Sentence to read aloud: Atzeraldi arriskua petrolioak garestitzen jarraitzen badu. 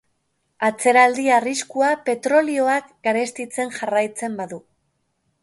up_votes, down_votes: 3, 0